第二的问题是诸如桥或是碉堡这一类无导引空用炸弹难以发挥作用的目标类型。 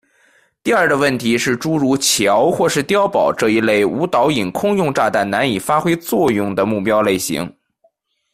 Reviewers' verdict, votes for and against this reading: rejected, 1, 2